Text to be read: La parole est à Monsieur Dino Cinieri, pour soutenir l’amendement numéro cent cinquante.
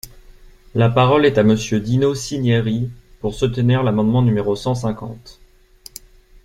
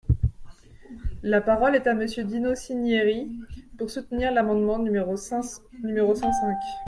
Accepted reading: first